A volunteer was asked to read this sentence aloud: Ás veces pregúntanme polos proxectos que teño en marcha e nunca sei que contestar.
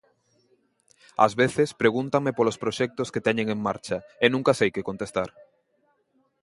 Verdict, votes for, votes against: rejected, 1, 2